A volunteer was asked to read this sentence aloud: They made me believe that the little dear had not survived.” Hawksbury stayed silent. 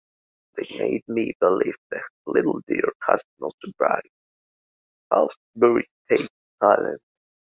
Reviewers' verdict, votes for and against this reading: rejected, 1, 2